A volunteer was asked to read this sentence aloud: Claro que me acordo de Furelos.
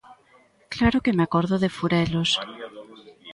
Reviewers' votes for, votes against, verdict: 2, 0, accepted